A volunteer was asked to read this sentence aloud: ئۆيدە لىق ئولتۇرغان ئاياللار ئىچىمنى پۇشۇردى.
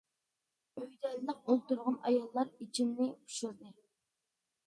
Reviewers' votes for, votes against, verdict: 0, 2, rejected